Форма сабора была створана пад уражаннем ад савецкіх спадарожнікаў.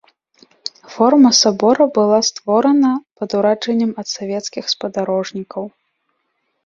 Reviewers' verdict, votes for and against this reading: rejected, 0, 2